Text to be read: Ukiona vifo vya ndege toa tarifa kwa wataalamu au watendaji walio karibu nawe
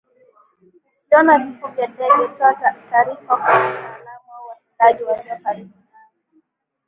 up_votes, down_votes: 0, 2